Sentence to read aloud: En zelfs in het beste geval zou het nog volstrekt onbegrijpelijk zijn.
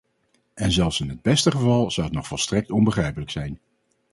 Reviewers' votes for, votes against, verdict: 2, 0, accepted